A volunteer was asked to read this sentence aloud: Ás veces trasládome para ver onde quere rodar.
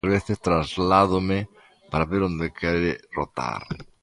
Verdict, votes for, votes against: rejected, 0, 2